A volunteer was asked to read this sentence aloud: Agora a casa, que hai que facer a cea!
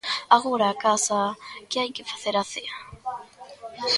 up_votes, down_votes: 1, 2